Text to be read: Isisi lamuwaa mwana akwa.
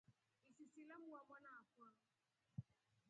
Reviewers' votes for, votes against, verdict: 0, 2, rejected